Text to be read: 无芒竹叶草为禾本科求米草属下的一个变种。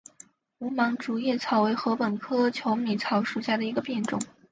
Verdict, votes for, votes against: accepted, 4, 0